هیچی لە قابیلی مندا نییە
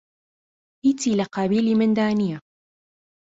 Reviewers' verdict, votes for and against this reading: accepted, 2, 0